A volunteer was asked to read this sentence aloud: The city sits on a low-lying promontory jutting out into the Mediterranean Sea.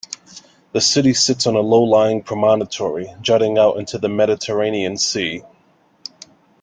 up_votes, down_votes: 2, 1